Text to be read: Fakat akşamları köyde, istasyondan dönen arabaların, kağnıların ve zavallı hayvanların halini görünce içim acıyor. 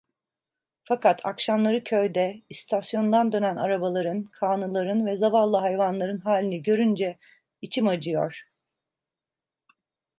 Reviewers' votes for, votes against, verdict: 2, 0, accepted